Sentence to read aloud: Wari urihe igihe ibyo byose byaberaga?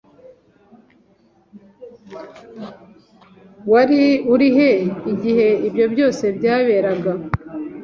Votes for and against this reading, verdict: 2, 0, accepted